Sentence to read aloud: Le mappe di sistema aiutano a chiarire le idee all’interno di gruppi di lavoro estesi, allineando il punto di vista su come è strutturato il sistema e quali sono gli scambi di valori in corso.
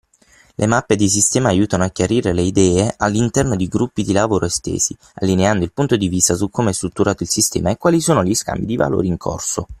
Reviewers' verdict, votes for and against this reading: accepted, 6, 0